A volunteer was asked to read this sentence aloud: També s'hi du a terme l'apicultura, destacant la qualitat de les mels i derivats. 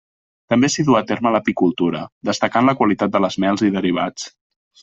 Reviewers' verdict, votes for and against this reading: accepted, 2, 0